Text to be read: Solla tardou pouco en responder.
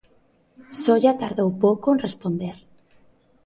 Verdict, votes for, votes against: accepted, 2, 0